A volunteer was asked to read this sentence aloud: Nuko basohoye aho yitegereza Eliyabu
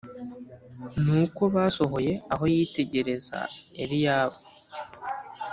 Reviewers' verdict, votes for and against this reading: accepted, 2, 0